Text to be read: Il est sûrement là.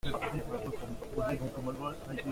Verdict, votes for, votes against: rejected, 0, 2